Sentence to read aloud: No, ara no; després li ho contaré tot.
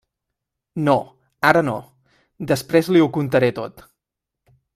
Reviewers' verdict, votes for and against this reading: accepted, 3, 0